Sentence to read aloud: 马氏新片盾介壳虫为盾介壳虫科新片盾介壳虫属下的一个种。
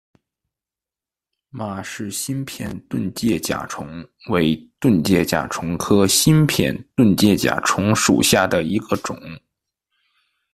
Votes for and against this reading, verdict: 0, 2, rejected